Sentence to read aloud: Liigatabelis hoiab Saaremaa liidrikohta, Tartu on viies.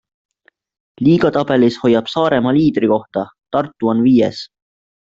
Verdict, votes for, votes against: accepted, 2, 0